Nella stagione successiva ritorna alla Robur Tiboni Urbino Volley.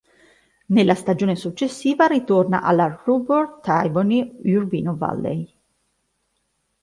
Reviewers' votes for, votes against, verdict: 1, 2, rejected